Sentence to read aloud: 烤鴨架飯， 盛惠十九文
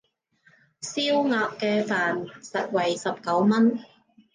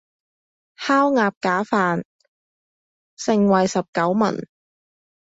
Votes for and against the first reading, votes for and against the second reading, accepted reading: 0, 2, 2, 0, second